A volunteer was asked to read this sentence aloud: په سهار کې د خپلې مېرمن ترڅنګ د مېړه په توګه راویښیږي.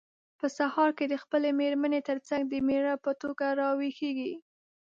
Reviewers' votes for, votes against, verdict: 2, 0, accepted